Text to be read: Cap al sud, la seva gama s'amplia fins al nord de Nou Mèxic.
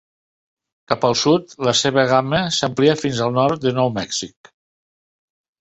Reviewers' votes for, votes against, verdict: 4, 0, accepted